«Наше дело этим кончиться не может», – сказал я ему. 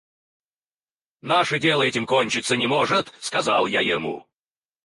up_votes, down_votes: 0, 4